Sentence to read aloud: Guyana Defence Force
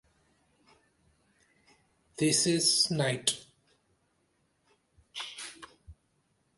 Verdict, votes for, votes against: rejected, 0, 2